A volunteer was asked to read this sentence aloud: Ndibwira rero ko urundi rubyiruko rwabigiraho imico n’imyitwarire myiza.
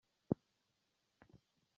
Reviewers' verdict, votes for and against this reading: rejected, 0, 2